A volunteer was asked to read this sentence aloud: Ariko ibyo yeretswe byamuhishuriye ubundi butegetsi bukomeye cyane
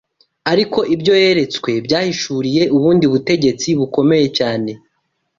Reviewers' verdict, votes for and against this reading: rejected, 1, 2